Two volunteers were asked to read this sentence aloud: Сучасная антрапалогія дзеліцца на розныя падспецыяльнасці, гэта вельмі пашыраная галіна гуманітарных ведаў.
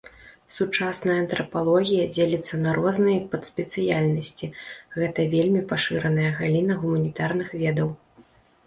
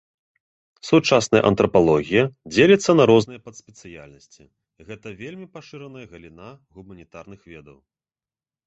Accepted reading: second